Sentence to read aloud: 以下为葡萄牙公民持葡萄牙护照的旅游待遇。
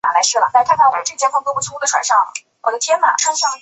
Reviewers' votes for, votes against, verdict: 0, 5, rejected